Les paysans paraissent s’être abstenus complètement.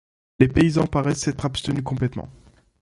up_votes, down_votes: 2, 0